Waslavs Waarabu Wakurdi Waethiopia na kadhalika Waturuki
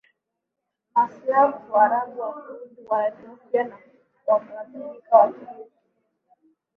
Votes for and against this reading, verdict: 1, 2, rejected